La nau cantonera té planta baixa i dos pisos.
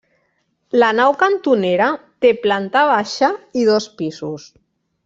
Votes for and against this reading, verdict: 1, 2, rejected